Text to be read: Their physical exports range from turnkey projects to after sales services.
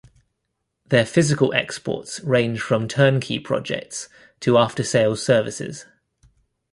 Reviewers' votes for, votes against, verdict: 2, 0, accepted